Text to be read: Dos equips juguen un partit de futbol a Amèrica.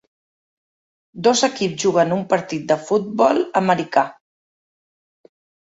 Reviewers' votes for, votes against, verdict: 1, 2, rejected